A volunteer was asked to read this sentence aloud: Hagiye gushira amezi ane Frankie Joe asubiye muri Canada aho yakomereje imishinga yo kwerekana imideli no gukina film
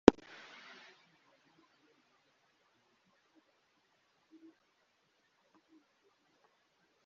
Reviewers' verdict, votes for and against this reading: rejected, 1, 2